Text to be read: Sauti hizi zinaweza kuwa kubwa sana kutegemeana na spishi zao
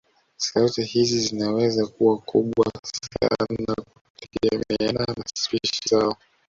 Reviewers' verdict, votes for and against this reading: accepted, 2, 0